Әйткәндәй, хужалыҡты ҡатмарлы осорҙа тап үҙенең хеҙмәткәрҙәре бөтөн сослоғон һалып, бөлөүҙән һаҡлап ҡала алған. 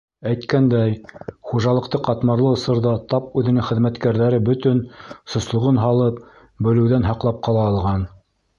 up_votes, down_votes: 2, 0